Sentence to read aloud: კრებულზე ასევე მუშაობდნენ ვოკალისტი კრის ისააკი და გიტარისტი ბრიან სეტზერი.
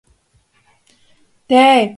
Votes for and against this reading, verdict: 0, 2, rejected